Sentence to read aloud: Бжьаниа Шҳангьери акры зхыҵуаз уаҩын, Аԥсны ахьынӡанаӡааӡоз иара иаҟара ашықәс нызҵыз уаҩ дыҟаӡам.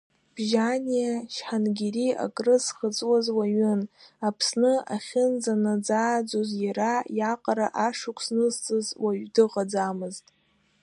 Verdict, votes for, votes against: rejected, 0, 2